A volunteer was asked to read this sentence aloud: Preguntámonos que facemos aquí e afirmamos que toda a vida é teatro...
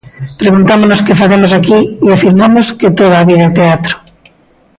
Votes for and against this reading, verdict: 2, 0, accepted